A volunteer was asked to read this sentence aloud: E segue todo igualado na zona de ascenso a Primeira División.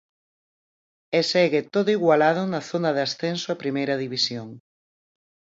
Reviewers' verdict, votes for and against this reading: accepted, 4, 0